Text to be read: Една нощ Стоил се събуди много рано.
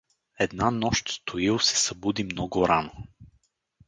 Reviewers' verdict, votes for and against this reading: accepted, 4, 0